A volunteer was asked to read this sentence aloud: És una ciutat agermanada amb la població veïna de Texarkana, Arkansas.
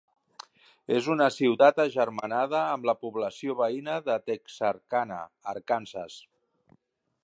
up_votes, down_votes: 3, 0